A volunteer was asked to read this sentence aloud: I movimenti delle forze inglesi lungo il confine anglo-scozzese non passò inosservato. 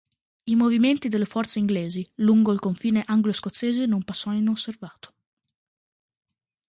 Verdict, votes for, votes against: accepted, 2, 0